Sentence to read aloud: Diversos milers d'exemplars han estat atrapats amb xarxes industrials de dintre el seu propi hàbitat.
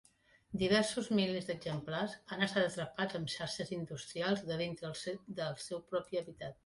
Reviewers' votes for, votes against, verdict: 0, 2, rejected